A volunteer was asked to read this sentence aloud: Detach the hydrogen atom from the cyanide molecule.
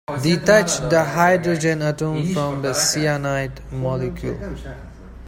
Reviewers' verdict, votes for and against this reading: rejected, 0, 2